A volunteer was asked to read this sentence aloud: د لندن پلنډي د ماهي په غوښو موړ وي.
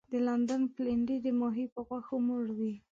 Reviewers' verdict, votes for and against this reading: accepted, 3, 0